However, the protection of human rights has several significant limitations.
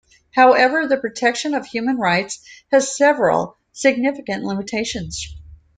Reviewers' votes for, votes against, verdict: 2, 0, accepted